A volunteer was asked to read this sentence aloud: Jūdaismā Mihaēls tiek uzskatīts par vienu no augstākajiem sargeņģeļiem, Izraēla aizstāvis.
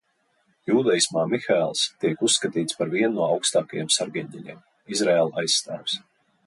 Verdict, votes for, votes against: accepted, 2, 0